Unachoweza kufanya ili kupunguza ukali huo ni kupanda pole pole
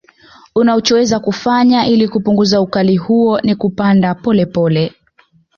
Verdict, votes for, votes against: accepted, 2, 1